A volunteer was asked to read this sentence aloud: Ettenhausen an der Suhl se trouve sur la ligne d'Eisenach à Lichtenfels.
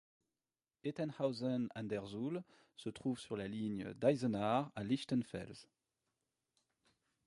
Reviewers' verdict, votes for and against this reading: accepted, 2, 0